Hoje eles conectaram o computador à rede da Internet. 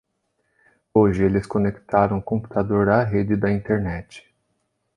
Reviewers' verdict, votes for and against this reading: rejected, 1, 2